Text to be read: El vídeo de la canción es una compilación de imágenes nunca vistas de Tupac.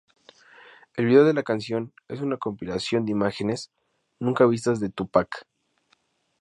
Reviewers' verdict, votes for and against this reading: accepted, 2, 0